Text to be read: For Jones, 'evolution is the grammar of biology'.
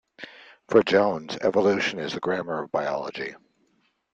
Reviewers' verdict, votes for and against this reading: accepted, 2, 0